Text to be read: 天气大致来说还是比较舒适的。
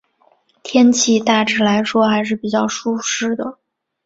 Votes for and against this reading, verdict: 3, 1, accepted